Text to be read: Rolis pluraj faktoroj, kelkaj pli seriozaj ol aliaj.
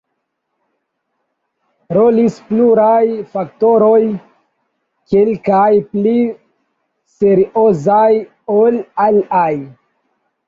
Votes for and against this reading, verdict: 1, 2, rejected